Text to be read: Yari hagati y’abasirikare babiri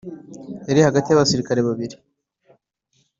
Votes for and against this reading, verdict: 2, 0, accepted